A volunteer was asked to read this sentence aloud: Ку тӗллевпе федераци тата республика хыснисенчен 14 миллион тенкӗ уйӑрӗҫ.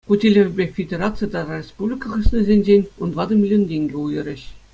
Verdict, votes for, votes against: rejected, 0, 2